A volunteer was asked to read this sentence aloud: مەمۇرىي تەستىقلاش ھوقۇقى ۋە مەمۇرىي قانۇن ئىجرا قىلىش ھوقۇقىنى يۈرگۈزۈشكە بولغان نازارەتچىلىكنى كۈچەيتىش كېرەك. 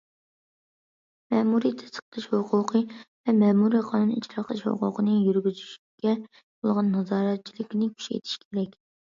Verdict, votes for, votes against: accepted, 2, 1